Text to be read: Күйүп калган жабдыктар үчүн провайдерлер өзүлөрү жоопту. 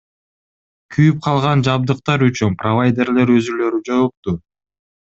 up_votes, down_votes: 2, 0